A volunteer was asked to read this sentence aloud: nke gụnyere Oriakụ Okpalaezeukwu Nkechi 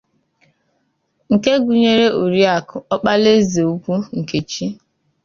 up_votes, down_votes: 2, 0